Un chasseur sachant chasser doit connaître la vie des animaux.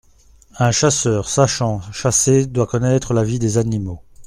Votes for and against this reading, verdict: 2, 0, accepted